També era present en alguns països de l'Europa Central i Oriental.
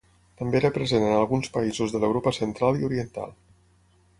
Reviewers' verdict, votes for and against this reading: accepted, 6, 0